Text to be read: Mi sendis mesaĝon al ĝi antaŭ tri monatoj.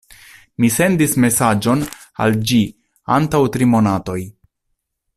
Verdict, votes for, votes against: accepted, 2, 0